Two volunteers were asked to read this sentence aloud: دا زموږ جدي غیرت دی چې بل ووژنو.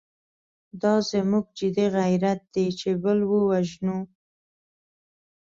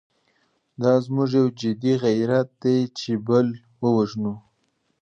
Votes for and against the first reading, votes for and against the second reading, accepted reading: 3, 0, 1, 2, first